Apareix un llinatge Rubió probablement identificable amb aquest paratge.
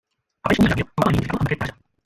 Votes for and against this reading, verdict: 0, 2, rejected